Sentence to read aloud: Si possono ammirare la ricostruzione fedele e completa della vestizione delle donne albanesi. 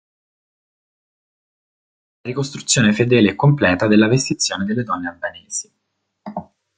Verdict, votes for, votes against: rejected, 0, 2